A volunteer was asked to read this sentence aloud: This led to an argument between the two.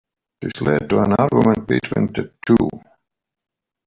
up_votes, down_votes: 0, 2